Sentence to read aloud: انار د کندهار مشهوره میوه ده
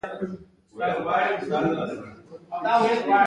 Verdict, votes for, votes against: rejected, 1, 2